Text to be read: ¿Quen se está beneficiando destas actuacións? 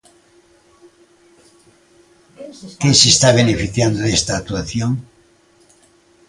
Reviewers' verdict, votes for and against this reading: rejected, 0, 2